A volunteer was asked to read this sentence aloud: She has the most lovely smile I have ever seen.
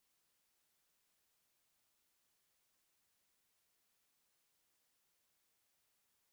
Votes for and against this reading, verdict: 0, 2, rejected